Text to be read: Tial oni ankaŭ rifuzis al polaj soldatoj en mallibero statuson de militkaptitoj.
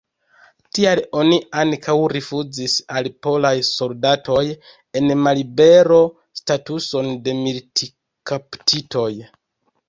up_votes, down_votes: 1, 2